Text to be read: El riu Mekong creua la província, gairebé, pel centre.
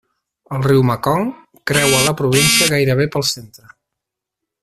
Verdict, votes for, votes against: rejected, 2, 4